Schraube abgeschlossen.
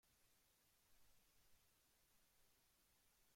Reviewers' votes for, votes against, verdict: 0, 2, rejected